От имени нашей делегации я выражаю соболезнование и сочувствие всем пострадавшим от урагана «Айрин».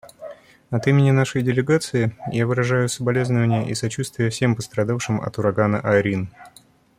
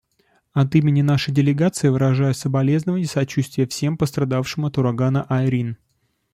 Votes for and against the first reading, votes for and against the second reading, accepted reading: 2, 0, 1, 2, first